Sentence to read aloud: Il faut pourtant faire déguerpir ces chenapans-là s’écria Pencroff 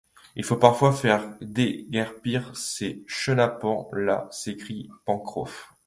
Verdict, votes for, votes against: rejected, 1, 2